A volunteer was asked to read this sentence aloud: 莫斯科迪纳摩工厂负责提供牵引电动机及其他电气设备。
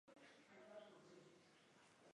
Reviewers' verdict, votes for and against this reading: rejected, 1, 4